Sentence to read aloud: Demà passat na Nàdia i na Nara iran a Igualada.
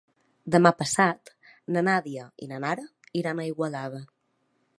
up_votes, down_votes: 5, 1